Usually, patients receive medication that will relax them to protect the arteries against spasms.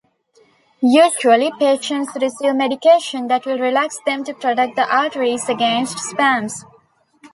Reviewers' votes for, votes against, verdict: 1, 2, rejected